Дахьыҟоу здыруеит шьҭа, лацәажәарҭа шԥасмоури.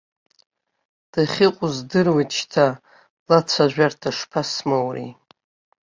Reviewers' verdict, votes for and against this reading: accepted, 2, 0